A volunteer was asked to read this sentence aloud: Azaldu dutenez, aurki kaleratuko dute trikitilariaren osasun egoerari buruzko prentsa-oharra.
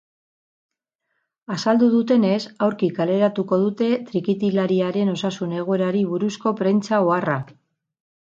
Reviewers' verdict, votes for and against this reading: rejected, 4, 4